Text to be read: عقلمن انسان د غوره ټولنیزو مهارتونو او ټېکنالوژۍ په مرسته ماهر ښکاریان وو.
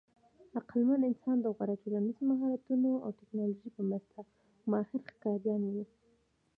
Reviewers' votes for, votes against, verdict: 2, 0, accepted